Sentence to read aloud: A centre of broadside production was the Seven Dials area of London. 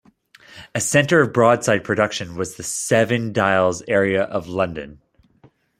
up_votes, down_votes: 2, 0